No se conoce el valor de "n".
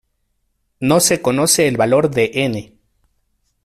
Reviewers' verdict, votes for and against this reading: accepted, 3, 0